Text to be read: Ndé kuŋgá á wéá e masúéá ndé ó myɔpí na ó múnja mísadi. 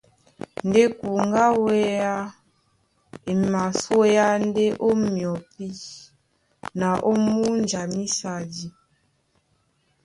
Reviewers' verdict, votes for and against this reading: accepted, 2, 1